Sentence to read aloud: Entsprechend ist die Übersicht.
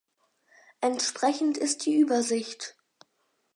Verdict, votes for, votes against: accepted, 4, 0